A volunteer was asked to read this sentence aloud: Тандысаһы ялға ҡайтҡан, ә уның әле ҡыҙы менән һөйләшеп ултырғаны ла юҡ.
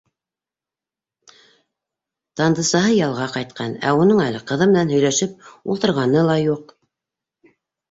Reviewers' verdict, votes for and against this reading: accepted, 2, 0